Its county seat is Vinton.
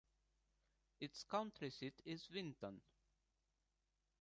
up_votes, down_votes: 2, 1